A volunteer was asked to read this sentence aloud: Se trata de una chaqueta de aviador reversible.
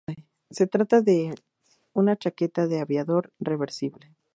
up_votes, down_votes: 2, 0